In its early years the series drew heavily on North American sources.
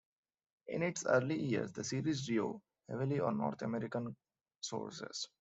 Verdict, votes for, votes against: accepted, 2, 1